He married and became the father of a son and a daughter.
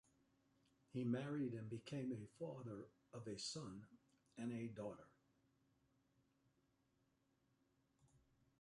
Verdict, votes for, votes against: rejected, 1, 2